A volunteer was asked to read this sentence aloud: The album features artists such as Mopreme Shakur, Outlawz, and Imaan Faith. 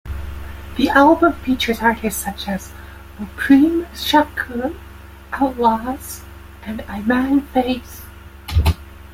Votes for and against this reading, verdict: 2, 0, accepted